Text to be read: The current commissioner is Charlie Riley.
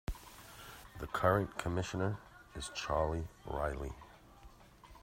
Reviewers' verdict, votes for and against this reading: accepted, 2, 0